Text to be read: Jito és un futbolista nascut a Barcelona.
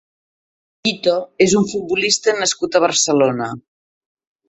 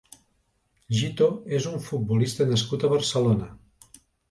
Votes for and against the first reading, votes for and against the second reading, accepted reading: 1, 2, 2, 0, second